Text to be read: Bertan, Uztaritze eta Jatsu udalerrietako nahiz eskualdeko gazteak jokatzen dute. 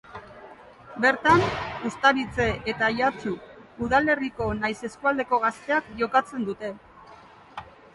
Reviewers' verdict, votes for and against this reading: rejected, 0, 2